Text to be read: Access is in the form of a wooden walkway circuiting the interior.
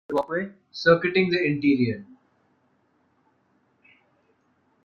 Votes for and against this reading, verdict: 0, 2, rejected